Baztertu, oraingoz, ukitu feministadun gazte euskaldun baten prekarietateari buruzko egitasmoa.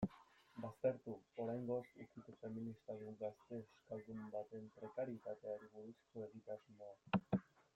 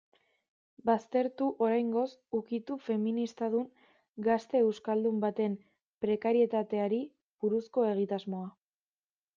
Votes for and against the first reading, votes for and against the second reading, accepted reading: 1, 2, 2, 1, second